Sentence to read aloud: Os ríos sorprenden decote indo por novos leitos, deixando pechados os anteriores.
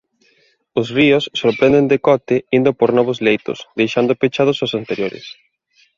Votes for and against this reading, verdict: 2, 0, accepted